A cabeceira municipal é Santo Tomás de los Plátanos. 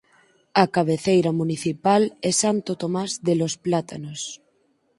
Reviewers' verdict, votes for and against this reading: accepted, 4, 0